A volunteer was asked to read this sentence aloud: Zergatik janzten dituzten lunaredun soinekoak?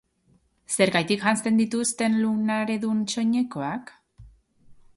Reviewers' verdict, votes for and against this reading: rejected, 1, 2